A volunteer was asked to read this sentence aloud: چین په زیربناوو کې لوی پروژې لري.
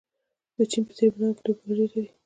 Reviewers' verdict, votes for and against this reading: rejected, 1, 2